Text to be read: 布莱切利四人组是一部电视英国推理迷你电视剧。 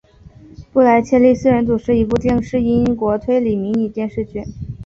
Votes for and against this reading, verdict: 2, 0, accepted